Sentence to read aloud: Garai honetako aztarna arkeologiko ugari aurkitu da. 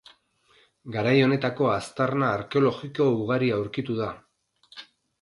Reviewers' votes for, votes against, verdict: 4, 0, accepted